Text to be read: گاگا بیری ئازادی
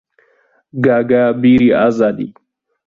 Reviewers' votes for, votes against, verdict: 0, 2, rejected